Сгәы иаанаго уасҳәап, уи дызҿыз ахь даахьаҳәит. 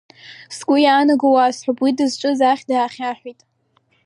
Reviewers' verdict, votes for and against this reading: rejected, 0, 2